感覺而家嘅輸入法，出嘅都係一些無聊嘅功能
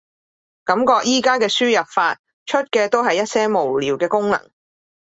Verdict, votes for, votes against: accepted, 2, 0